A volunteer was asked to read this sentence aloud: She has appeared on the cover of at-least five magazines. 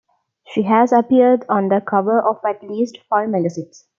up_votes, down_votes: 2, 0